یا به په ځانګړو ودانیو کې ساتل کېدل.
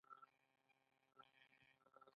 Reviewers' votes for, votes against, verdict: 2, 1, accepted